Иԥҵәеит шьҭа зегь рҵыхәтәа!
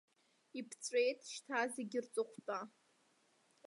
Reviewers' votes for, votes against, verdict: 2, 0, accepted